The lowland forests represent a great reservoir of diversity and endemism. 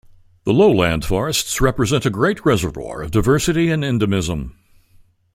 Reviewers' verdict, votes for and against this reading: accepted, 2, 0